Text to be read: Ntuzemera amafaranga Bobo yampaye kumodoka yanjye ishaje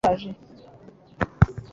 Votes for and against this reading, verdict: 0, 2, rejected